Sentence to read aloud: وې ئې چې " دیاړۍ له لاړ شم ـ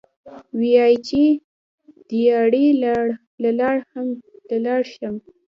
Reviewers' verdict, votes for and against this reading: rejected, 1, 2